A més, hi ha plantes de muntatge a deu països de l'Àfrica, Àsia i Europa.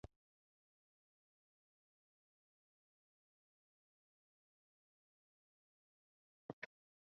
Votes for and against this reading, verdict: 0, 2, rejected